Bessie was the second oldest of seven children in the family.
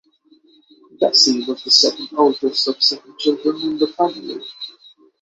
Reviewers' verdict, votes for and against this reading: accepted, 6, 0